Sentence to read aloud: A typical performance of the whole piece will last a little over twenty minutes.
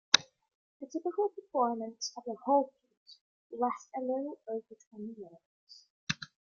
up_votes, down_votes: 2, 0